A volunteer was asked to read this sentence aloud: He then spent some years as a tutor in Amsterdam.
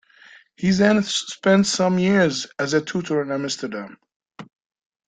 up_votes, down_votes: 1, 2